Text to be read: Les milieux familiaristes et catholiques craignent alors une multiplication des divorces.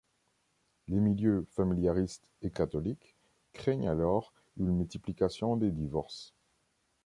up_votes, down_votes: 2, 0